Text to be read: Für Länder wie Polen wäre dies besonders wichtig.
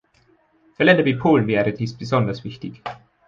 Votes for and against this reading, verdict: 2, 0, accepted